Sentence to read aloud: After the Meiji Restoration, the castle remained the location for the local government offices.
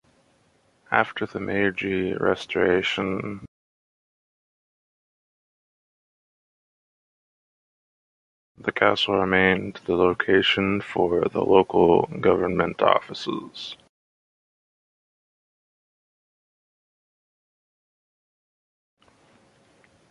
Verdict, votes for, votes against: rejected, 0, 2